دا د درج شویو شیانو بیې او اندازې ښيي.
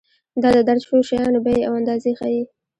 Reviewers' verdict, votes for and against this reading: accepted, 2, 0